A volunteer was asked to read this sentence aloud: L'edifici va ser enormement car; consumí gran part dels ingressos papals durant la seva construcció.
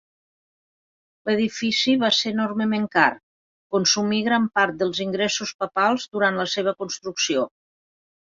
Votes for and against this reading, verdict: 3, 1, accepted